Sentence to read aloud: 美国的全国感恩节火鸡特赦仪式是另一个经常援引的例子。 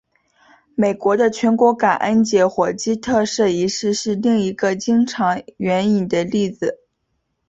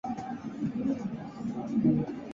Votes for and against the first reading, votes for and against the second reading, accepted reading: 6, 0, 0, 2, first